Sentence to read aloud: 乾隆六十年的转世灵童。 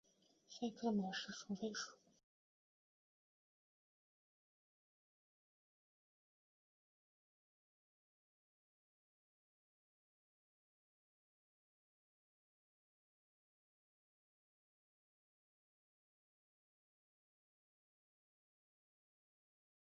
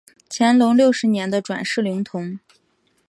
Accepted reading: second